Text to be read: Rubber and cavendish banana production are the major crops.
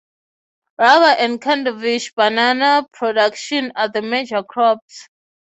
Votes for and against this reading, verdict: 3, 3, rejected